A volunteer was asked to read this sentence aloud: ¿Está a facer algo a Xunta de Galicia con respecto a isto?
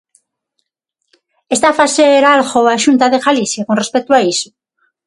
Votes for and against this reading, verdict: 0, 6, rejected